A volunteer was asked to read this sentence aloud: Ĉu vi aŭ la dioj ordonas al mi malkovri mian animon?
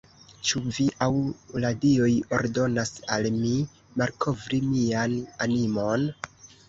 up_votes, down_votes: 2, 0